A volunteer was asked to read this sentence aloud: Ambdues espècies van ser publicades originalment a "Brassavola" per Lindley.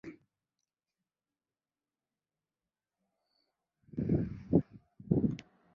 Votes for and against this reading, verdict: 0, 2, rejected